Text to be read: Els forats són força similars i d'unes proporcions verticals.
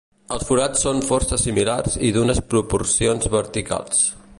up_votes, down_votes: 2, 0